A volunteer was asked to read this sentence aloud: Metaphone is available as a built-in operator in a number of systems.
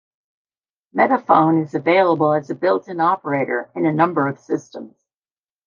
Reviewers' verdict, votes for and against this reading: rejected, 1, 2